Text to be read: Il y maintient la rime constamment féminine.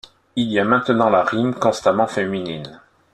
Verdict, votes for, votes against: rejected, 0, 2